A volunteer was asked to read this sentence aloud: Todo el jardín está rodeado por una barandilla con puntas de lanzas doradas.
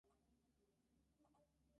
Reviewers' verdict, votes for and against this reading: rejected, 0, 2